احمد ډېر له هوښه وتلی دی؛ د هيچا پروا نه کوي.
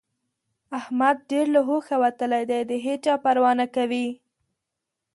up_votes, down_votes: 2, 0